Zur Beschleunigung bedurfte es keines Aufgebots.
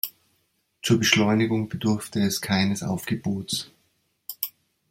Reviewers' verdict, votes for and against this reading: accepted, 2, 0